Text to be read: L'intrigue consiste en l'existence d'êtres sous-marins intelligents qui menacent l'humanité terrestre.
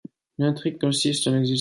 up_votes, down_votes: 0, 2